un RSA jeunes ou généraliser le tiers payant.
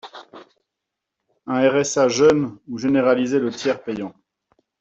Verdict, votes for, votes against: rejected, 0, 2